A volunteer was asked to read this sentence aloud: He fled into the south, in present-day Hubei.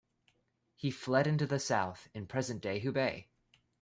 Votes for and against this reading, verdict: 0, 2, rejected